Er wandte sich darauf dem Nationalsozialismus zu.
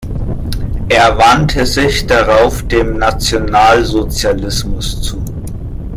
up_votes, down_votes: 1, 2